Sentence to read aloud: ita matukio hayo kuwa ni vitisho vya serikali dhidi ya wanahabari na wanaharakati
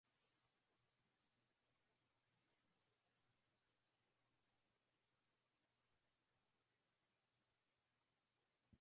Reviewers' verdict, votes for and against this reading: rejected, 0, 2